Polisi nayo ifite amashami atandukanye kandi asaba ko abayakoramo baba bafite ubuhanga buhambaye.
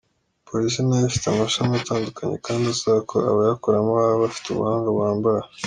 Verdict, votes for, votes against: accepted, 2, 0